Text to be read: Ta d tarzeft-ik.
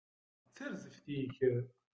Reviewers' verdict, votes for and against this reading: rejected, 0, 2